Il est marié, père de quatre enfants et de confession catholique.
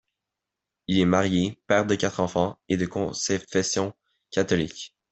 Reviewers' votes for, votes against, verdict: 0, 2, rejected